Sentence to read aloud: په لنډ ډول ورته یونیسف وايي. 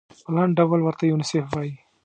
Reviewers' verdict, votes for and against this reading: accepted, 2, 0